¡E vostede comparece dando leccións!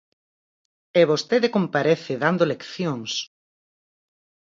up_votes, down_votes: 4, 0